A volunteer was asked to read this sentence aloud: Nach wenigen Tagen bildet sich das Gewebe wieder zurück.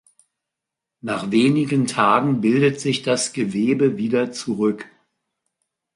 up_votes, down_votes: 2, 0